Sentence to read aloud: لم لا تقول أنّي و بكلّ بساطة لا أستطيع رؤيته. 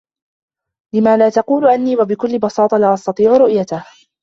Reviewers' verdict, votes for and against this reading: accepted, 2, 0